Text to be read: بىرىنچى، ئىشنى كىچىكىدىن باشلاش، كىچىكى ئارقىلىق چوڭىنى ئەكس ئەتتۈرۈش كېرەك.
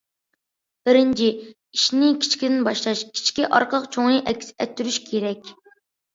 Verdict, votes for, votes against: accepted, 2, 0